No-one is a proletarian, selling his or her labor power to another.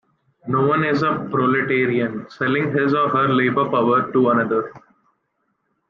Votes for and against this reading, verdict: 2, 1, accepted